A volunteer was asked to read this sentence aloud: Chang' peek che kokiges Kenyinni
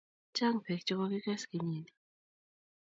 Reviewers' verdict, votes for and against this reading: rejected, 1, 2